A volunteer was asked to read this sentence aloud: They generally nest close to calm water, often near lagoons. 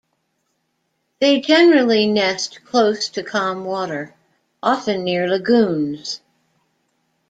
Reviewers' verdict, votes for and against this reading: accepted, 2, 0